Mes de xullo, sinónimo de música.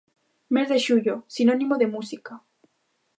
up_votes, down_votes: 2, 0